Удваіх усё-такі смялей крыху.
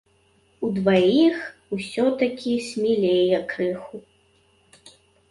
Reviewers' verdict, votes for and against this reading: rejected, 0, 3